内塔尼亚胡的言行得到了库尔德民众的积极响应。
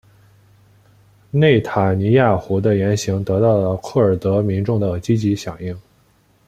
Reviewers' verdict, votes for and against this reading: accepted, 2, 0